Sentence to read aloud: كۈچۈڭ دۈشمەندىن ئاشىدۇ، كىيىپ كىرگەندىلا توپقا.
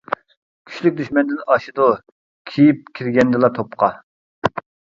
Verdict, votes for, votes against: rejected, 0, 2